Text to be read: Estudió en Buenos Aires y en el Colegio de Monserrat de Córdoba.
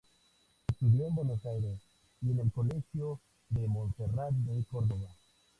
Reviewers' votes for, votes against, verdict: 2, 0, accepted